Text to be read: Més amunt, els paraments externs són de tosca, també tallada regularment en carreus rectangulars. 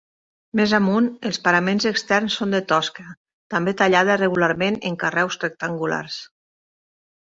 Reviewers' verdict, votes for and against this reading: accepted, 3, 0